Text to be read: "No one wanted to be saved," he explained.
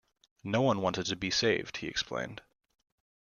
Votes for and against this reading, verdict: 2, 0, accepted